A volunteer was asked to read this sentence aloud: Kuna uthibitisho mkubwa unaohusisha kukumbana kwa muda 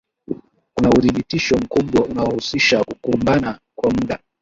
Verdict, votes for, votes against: accepted, 2, 0